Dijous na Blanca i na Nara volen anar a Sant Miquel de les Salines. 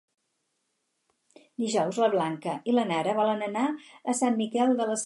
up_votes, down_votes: 0, 4